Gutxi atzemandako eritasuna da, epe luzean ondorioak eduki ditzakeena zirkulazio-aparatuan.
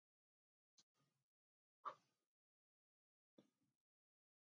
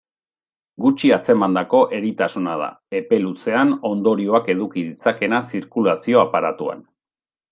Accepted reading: second